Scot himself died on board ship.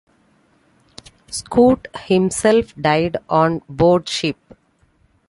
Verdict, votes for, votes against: accepted, 2, 1